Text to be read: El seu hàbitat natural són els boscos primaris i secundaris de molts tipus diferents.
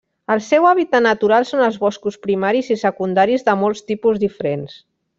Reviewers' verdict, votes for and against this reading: rejected, 1, 2